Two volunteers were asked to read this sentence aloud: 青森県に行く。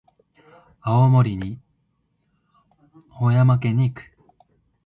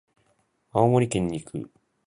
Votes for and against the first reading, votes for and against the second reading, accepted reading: 2, 3, 2, 0, second